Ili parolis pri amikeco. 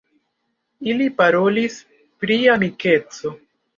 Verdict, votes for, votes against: accepted, 2, 1